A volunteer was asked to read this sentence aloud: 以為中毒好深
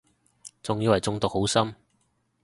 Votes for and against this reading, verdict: 0, 2, rejected